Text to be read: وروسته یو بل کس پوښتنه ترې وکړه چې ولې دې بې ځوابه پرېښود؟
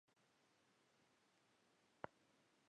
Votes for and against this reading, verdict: 2, 3, rejected